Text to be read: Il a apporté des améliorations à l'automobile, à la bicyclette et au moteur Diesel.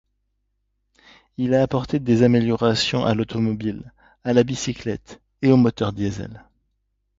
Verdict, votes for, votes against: accepted, 2, 0